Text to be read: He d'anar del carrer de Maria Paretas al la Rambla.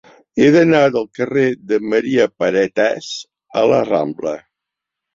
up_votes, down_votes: 2, 0